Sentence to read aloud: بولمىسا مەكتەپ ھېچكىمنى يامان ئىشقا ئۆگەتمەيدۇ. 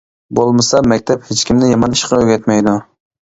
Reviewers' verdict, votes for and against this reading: accepted, 2, 0